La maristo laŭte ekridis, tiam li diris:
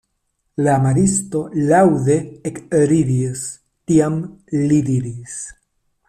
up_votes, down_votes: 0, 2